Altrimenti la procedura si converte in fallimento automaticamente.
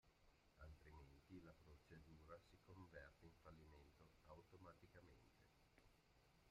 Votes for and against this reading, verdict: 0, 2, rejected